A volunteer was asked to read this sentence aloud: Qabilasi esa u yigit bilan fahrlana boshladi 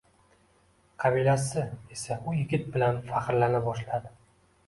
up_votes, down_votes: 2, 1